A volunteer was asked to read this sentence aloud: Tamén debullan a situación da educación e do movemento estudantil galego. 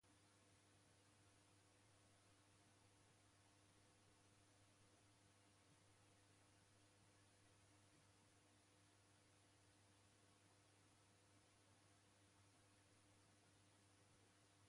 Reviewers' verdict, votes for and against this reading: rejected, 0, 2